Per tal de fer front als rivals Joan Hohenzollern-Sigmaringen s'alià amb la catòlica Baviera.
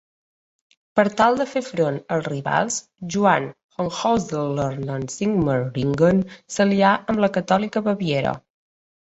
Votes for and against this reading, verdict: 1, 2, rejected